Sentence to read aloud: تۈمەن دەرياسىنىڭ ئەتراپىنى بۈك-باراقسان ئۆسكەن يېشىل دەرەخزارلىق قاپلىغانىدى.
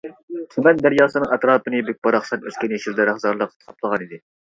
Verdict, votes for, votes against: rejected, 0, 2